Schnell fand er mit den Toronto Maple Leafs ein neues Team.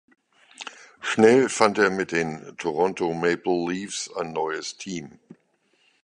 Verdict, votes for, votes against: accepted, 2, 0